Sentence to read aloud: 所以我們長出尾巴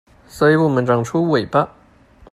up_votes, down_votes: 2, 0